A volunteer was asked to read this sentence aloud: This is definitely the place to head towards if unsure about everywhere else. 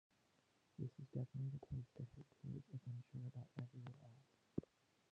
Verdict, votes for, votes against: rejected, 0, 2